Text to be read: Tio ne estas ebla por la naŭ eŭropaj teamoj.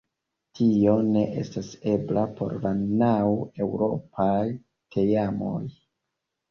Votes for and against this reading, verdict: 2, 1, accepted